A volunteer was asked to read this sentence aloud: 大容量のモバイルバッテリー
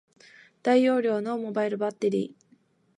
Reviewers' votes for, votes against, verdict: 4, 0, accepted